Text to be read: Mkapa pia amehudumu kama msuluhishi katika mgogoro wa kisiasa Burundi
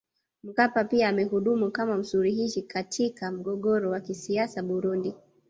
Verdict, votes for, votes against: accepted, 2, 0